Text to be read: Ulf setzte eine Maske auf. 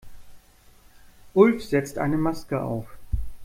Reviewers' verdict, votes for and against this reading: rejected, 0, 2